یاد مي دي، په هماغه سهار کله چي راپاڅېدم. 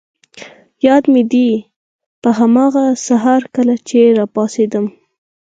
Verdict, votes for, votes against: accepted, 4, 2